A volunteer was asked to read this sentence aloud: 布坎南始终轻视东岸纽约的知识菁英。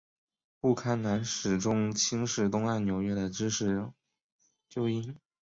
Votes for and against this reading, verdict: 1, 2, rejected